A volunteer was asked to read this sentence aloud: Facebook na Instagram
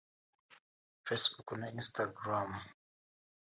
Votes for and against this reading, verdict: 2, 1, accepted